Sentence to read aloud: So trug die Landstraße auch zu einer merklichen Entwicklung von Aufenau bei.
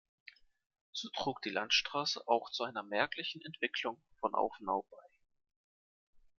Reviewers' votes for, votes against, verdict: 1, 2, rejected